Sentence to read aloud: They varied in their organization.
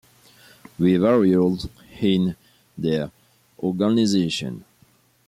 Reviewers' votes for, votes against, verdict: 0, 2, rejected